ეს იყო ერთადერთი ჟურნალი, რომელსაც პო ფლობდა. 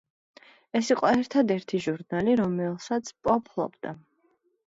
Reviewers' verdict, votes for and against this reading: accepted, 2, 1